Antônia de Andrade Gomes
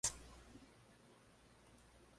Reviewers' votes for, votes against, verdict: 0, 2, rejected